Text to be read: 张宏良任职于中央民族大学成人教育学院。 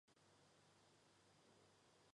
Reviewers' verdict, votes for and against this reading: rejected, 0, 2